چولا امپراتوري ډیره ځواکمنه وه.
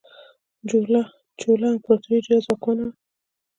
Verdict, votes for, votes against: rejected, 1, 2